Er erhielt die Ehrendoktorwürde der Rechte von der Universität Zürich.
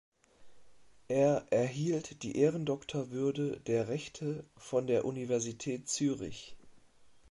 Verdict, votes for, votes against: accepted, 2, 0